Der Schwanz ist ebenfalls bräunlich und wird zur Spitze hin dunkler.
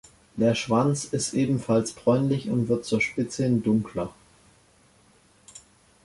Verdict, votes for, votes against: accepted, 2, 0